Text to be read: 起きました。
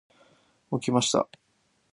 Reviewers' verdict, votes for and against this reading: accepted, 2, 0